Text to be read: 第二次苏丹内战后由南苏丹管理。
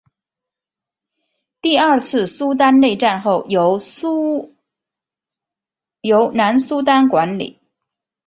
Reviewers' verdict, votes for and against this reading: rejected, 2, 3